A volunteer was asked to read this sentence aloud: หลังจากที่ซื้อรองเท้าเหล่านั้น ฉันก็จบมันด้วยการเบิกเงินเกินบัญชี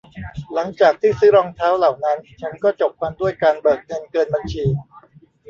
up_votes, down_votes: 0, 2